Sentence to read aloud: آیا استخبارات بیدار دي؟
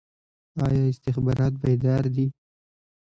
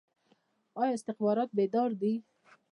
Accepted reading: second